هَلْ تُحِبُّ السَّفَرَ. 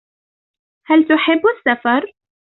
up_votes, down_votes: 2, 0